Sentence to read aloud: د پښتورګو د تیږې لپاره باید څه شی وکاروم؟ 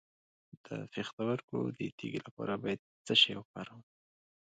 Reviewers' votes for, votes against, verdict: 2, 0, accepted